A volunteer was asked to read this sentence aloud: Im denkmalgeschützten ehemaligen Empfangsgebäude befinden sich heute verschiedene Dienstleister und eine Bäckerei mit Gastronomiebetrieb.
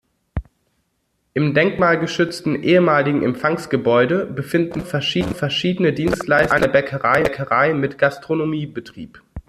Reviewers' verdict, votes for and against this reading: rejected, 0, 2